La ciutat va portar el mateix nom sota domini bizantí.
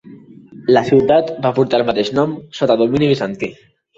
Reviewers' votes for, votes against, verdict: 2, 0, accepted